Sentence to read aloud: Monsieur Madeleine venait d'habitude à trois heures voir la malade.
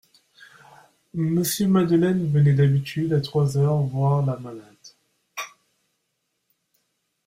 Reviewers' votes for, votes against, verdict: 2, 0, accepted